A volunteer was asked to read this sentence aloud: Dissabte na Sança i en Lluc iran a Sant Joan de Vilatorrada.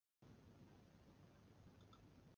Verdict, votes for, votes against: rejected, 0, 2